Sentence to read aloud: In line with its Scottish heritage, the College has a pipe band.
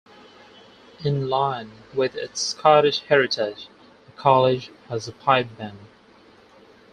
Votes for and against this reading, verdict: 2, 4, rejected